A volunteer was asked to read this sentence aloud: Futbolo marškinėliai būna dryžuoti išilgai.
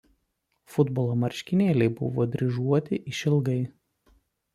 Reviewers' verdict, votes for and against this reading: rejected, 0, 2